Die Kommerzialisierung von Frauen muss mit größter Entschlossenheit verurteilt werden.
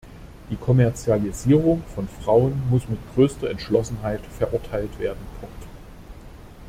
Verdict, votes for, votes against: rejected, 1, 2